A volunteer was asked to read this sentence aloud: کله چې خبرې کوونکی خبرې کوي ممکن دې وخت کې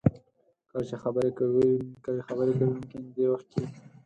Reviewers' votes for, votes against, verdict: 4, 0, accepted